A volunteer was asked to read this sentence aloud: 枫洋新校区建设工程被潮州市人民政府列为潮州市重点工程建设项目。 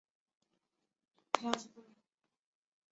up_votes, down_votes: 1, 4